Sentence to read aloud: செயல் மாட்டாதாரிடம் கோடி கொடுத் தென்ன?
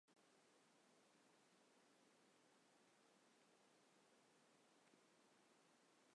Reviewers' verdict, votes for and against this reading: rejected, 1, 2